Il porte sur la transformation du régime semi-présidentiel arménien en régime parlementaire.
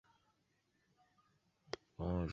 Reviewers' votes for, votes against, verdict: 0, 2, rejected